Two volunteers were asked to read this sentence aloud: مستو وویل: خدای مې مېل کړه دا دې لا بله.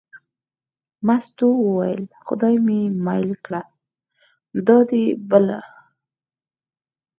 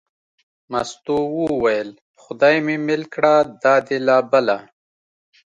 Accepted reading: second